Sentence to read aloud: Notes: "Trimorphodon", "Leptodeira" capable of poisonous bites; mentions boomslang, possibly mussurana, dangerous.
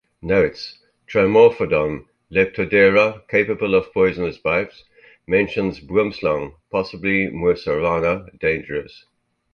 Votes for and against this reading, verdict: 2, 0, accepted